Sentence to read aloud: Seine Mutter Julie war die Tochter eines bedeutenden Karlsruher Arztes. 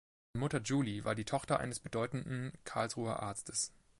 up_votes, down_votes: 2, 3